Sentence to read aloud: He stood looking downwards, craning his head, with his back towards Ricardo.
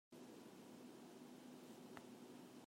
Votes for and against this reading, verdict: 0, 2, rejected